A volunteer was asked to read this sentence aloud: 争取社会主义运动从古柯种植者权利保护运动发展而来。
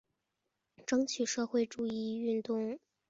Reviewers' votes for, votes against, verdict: 1, 4, rejected